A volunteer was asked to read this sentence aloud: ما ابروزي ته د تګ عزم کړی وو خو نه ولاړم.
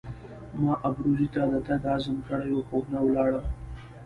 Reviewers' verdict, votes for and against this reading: accepted, 2, 0